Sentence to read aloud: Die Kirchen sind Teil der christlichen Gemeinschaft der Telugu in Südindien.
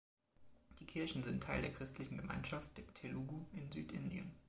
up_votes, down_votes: 2, 0